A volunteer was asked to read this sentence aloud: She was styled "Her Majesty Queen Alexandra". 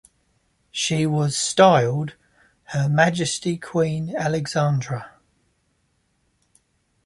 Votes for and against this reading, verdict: 2, 0, accepted